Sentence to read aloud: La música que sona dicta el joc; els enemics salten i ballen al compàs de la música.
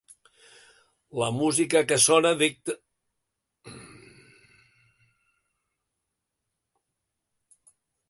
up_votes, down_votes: 0, 3